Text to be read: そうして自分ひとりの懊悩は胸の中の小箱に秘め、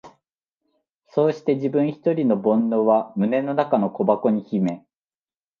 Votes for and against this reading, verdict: 2, 0, accepted